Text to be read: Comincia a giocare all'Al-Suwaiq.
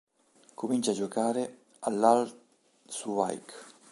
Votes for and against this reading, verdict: 0, 2, rejected